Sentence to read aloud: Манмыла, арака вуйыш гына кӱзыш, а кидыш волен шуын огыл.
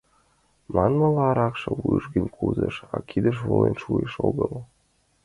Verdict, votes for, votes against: rejected, 0, 2